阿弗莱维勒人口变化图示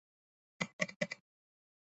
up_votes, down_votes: 0, 4